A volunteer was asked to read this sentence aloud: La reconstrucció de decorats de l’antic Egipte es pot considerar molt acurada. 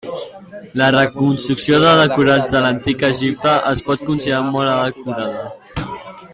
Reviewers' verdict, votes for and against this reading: rejected, 0, 2